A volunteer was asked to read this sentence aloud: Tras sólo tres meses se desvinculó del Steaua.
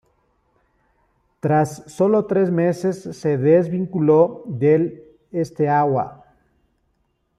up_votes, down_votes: 1, 2